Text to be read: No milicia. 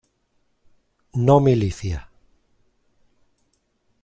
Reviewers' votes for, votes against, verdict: 2, 0, accepted